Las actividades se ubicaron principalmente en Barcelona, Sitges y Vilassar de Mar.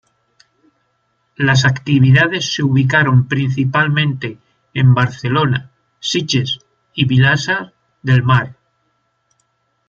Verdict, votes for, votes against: rejected, 1, 2